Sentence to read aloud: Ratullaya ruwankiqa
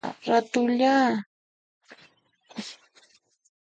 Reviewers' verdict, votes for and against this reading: rejected, 0, 2